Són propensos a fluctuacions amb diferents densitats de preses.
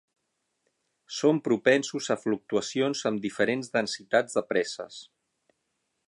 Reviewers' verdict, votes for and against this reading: rejected, 3, 6